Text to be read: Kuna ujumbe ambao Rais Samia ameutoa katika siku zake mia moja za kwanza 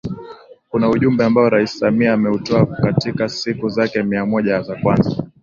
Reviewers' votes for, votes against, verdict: 4, 0, accepted